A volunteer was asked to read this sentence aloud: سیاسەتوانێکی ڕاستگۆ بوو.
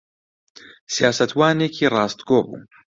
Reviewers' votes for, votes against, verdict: 2, 0, accepted